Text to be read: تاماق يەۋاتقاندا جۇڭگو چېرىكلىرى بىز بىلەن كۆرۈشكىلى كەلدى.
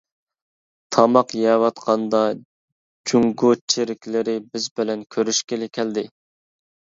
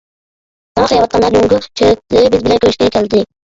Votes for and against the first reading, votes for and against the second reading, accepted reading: 2, 0, 1, 2, first